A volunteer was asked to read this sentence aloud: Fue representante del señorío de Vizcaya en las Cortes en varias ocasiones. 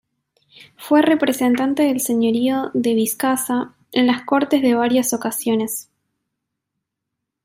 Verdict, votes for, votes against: rejected, 0, 2